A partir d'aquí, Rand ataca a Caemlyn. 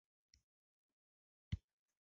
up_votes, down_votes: 0, 2